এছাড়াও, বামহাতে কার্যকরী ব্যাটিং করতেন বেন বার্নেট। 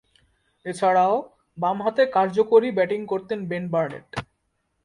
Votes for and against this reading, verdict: 2, 0, accepted